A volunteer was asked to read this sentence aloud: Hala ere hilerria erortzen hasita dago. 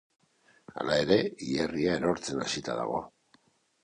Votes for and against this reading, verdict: 2, 0, accepted